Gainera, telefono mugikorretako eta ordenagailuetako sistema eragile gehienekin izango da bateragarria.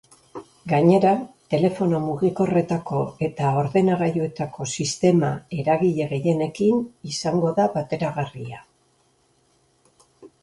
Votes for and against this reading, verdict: 2, 0, accepted